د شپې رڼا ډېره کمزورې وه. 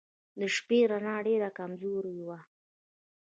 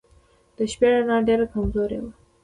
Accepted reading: first